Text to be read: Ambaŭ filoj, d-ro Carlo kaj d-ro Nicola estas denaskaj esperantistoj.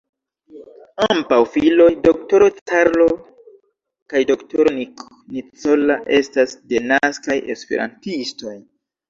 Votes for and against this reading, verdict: 1, 2, rejected